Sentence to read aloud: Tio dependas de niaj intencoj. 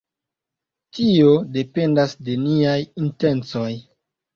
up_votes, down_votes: 2, 0